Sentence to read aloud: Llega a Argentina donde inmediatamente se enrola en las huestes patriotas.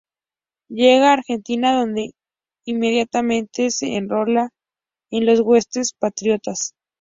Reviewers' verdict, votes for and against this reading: accepted, 2, 0